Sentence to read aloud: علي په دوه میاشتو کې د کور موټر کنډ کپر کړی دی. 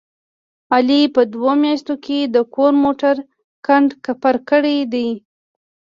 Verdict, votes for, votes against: accepted, 2, 0